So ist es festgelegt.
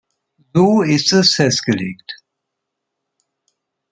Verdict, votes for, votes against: rejected, 1, 2